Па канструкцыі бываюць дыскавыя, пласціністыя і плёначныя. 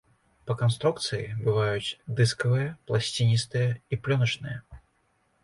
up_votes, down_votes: 2, 0